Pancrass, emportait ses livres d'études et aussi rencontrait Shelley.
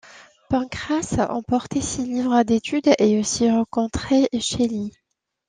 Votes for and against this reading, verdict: 2, 0, accepted